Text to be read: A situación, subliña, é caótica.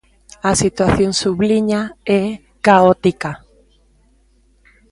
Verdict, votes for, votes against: rejected, 1, 2